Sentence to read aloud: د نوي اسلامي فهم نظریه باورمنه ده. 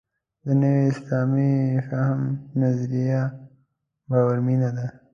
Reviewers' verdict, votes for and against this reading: rejected, 0, 2